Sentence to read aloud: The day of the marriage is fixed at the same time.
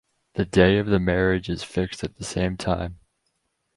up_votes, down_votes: 4, 0